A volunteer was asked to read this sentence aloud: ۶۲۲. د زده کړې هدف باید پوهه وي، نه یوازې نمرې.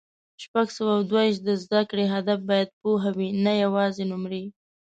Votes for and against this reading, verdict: 0, 2, rejected